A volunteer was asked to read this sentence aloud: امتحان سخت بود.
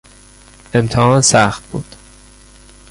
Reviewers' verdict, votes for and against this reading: rejected, 1, 2